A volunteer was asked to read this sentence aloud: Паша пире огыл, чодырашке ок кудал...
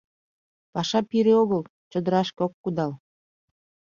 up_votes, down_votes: 2, 0